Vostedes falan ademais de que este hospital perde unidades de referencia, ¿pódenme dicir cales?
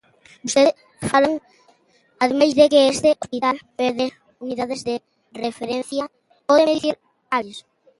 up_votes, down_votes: 0, 2